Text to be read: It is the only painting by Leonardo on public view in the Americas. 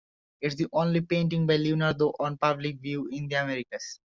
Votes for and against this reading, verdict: 2, 1, accepted